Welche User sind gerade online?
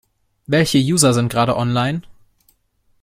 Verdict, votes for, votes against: accepted, 2, 0